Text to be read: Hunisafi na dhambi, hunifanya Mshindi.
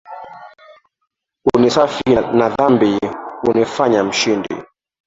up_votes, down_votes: 3, 1